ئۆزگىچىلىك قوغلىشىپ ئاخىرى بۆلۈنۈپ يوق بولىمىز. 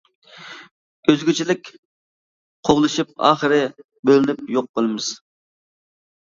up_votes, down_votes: 2, 1